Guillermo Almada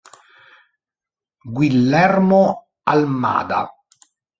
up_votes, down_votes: 1, 3